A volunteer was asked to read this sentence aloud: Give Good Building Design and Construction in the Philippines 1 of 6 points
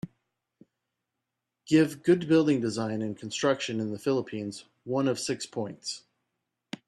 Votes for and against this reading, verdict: 0, 2, rejected